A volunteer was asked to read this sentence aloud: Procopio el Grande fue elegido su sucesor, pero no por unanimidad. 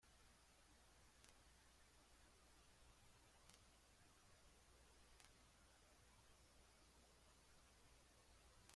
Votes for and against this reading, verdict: 0, 2, rejected